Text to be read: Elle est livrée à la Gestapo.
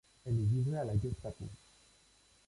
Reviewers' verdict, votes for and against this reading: rejected, 1, 2